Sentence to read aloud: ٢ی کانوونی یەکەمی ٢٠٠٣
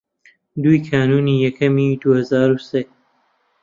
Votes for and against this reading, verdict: 0, 2, rejected